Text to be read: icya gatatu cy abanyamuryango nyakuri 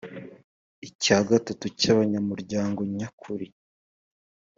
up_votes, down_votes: 2, 0